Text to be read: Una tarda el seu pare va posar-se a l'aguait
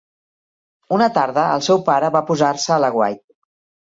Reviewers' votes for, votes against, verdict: 2, 0, accepted